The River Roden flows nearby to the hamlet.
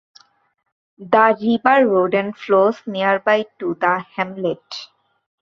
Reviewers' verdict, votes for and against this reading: rejected, 0, 2